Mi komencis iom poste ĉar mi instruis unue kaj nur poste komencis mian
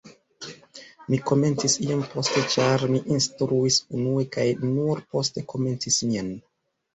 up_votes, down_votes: 2, 0